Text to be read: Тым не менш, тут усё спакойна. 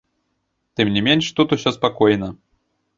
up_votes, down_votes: 2, 1